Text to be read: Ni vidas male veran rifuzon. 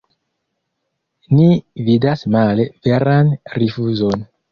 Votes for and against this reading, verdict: 2, 0, accepted